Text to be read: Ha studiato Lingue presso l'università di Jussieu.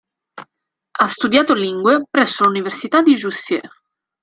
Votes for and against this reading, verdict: 2, 0, accepted